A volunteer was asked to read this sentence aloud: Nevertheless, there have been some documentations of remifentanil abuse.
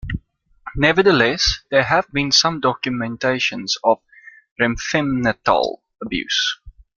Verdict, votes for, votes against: rejected, 0, 2